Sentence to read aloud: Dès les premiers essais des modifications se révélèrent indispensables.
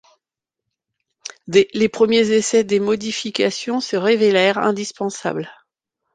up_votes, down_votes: 0, 2